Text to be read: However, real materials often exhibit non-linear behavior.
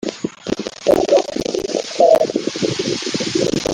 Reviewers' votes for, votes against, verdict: 0, 2, rejected